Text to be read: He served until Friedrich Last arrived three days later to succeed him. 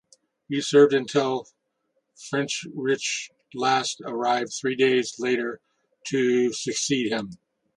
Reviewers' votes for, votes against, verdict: 2, 0, accepted